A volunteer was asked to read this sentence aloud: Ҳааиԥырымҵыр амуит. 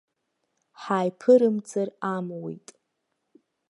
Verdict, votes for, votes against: accepted, 2, 0